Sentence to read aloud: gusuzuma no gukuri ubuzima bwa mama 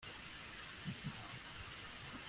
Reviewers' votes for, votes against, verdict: 1, 2, rejected